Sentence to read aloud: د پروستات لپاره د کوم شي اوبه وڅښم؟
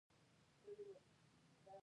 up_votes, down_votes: 0, 2